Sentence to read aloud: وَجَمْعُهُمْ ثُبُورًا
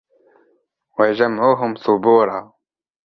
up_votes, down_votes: 6, 0